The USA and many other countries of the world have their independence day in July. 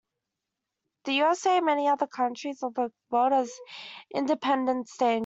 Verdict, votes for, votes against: rejected, 0, 2